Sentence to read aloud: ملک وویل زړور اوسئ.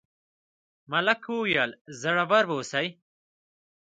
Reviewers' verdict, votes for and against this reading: accepted, 3, 0